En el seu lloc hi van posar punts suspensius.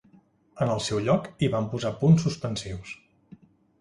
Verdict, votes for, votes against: accepted, 3, 0